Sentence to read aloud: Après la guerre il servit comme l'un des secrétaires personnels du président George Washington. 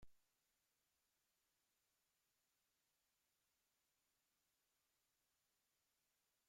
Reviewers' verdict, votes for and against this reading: rejected, 0, 2